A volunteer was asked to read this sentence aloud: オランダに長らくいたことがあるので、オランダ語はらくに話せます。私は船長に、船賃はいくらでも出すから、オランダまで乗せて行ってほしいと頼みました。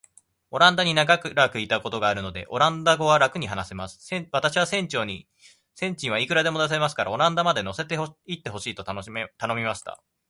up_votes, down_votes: 1, 4